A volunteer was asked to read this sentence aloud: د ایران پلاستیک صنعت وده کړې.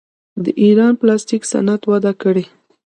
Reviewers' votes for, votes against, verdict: 1, 2, rejected